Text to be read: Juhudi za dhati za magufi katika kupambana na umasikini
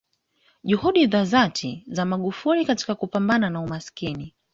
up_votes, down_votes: 2, 0